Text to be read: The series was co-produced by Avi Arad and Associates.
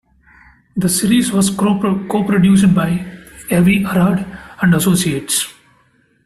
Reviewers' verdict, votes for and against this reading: rejected, 0, 2